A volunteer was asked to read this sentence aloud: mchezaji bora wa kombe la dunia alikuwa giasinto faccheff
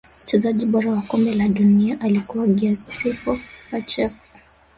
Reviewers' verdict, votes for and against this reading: rejected, 1, 2